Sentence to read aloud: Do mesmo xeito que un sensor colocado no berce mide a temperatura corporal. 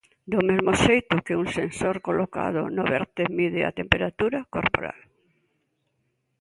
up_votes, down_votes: 2, 1